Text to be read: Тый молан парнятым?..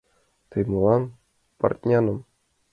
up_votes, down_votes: 0, 5